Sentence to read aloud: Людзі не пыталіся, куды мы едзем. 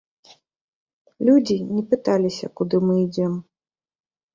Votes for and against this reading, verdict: 0, 2, rejected